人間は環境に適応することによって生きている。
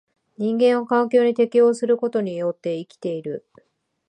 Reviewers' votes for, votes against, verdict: 2, 0, accepted